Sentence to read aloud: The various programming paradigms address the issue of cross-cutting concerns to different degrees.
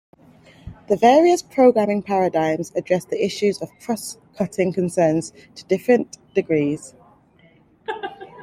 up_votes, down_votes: 2, 1